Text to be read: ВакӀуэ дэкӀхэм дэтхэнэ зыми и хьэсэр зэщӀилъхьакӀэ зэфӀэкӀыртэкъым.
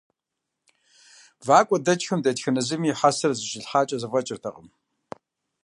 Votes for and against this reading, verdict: 0, 2, rejected